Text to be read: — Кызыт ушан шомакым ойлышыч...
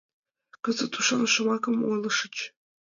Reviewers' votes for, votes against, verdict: 2, 1, accepted